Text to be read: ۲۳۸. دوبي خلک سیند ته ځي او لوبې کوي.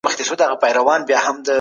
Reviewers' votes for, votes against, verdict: 0, 2, rejected